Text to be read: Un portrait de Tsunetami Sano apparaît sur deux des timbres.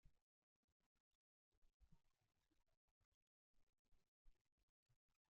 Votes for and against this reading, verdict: 0, 2, rejected